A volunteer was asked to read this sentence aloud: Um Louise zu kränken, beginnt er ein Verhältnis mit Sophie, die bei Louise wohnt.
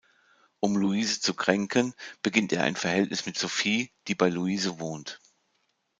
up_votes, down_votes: 2, 0